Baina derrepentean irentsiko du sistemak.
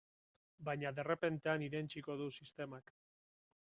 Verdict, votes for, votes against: accepted, 2, 1